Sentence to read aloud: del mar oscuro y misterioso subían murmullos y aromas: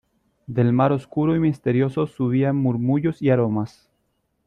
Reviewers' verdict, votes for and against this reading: accepted, 2, 0